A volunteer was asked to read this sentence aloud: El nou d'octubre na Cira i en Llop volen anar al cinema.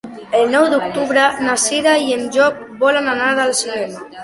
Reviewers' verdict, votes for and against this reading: accepted, 2, 0